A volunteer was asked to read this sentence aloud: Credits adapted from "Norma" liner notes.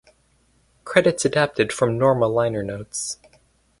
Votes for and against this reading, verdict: 2, 2, rejected